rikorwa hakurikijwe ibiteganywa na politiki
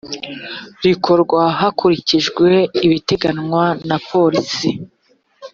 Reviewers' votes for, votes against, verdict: 0, 2, rejected